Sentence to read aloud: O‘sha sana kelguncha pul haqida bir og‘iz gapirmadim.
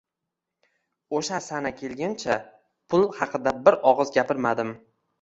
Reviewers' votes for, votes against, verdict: 2, 0, accepted